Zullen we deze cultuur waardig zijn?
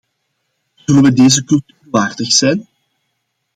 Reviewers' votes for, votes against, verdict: 0, 2, rejected